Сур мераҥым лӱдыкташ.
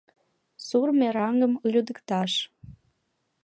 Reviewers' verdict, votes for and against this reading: accepted, 2, 0